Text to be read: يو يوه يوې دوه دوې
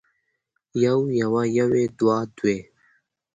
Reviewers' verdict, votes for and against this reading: accepted, 2, 0